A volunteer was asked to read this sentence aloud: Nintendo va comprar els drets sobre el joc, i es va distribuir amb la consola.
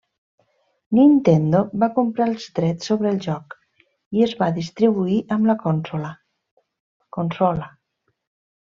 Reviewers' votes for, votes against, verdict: 0, 2, rejected